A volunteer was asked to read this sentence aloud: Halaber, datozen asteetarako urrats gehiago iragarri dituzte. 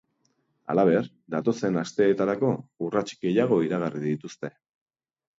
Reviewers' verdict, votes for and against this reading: accepted, 2, 0